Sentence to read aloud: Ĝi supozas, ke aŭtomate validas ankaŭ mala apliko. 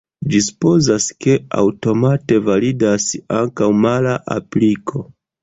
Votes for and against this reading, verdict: 2, 1, accepted